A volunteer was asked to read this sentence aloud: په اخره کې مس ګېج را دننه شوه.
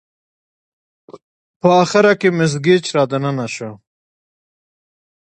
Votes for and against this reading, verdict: 2, 0, accepted